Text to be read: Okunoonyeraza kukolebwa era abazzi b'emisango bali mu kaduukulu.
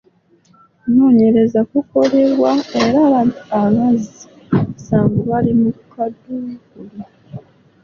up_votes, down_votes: 0, 2